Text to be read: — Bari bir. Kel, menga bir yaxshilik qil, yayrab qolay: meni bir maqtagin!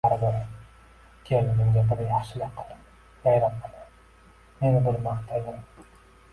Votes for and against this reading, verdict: 0, 2, rejected